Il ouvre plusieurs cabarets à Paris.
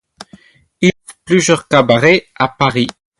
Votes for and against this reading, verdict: 0, 4, rejected